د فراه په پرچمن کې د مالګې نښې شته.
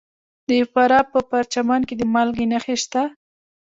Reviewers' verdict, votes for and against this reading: accepted, 2, 0